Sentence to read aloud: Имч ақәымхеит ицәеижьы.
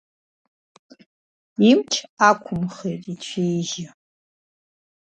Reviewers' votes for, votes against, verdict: 2, 0, accepted